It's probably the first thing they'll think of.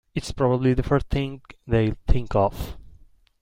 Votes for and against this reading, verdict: 2, 0, accepted